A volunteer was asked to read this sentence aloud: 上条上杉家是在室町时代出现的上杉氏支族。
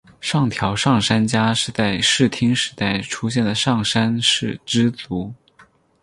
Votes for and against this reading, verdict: 0, 4, rejected